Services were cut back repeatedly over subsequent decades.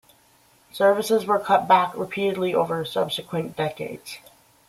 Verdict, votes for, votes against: accepted, 2, 0